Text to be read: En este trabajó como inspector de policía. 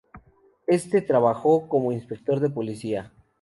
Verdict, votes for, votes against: rejected, 0, 2